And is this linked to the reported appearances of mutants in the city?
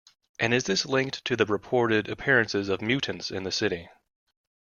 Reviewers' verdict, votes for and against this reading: accepted, 2, 0